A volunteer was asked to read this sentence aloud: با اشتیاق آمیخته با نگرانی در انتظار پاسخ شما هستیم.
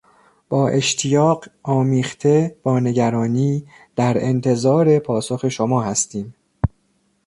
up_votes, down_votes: 1, 2